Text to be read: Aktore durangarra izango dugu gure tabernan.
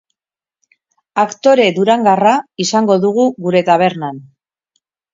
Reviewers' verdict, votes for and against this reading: accepted, 4, 0